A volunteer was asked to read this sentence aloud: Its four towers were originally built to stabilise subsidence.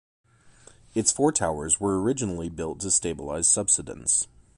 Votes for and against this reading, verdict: 2, 0, accepted